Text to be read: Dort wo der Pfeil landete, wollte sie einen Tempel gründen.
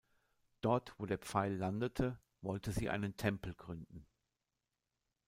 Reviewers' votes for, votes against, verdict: 2, 0, accepted